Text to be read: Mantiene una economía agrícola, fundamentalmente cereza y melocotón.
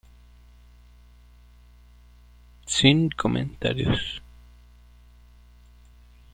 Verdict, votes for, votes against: rejected, 0, 2